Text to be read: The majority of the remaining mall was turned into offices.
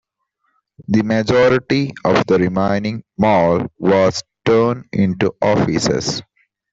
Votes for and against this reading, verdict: 2, 0, accepted